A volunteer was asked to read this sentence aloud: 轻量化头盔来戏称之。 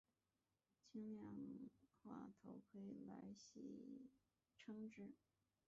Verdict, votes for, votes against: rejected, 0, 4